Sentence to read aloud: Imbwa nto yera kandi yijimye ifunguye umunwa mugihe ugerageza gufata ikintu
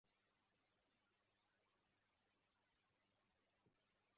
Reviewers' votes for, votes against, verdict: 0, 2, rejected